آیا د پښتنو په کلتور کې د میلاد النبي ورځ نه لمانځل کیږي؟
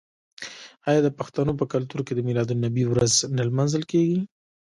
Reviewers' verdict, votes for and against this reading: rejected, 1, 2